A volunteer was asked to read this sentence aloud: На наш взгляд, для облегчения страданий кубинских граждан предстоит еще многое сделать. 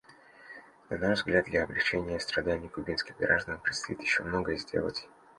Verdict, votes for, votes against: accepted, 2, 0